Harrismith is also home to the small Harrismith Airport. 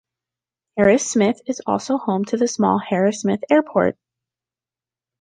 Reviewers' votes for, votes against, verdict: 2, 0, accepted